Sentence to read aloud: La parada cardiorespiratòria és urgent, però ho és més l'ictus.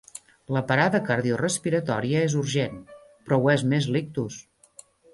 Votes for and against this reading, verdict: 1, 2, rejected